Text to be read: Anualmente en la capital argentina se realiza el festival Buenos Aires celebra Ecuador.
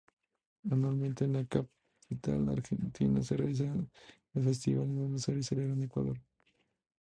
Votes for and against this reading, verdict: 0, 2, rejected